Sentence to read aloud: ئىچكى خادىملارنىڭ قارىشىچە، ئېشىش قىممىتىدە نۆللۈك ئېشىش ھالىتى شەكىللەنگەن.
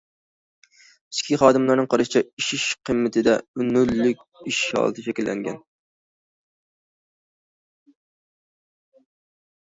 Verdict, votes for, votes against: accepted, 2, 1